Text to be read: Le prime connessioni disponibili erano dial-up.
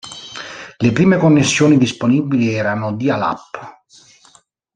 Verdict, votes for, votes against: rejected, 1, 2